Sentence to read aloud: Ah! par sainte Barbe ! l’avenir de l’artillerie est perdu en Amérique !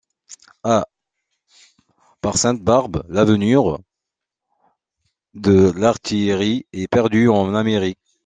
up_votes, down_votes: 0, 2